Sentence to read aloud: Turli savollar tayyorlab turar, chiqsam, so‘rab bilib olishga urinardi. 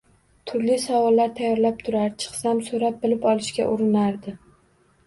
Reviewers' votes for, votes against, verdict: 1, 2, rejected